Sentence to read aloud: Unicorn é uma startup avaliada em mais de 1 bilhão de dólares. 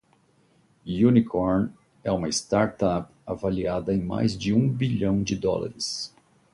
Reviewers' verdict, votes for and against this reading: rejected, 0, 2